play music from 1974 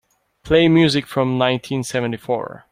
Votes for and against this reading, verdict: 0, 2, rejected